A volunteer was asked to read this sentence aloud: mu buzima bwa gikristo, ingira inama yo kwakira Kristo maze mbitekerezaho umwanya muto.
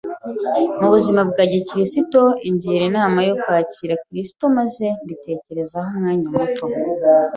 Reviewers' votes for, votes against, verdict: 4, 0, accepted